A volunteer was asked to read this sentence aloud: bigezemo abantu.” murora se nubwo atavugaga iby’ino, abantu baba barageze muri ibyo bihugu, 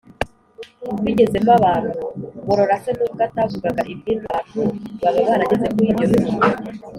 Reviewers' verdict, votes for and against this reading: rejected, 1, 2